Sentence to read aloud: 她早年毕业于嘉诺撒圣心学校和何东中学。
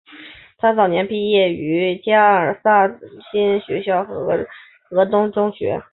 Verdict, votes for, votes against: rejected, 0, 2